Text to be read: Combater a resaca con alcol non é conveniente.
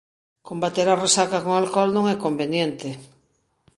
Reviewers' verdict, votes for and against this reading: accepted, 2, 1